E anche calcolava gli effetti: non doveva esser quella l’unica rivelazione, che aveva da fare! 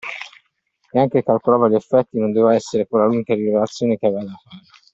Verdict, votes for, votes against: rejected, 1, 2